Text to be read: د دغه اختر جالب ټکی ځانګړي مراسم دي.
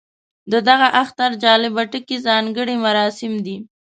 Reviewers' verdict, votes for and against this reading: accepted, 2, 0